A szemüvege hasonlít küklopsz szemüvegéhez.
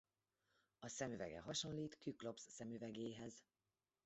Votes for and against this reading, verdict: 1, 2, rejected